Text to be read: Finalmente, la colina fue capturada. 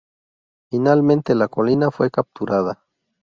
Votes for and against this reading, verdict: 2, 2, rejected